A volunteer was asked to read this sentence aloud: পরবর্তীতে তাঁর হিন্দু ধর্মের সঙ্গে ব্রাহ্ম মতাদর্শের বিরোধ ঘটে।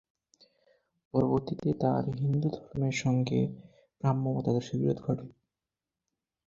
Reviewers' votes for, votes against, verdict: 8, 4, accepted